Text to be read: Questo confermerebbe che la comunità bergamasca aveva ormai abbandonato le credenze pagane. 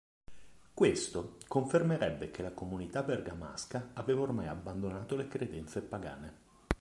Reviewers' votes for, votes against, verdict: 2, 0, accepted